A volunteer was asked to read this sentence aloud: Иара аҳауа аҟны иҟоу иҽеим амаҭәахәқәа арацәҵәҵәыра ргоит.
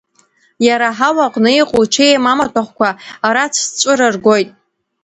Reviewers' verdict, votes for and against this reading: accepted, 3, 0